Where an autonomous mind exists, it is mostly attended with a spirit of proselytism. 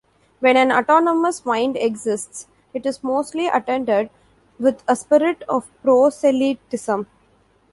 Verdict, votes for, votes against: rejected, 0, 2